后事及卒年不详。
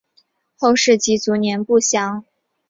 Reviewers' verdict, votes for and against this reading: accepted, 3, 0